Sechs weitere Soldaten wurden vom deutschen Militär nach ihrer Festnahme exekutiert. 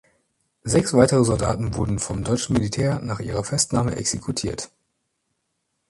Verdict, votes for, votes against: accepted, 2, 0